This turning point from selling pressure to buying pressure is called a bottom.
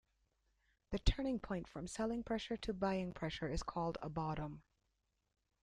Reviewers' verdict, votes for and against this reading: rejected, 1, 2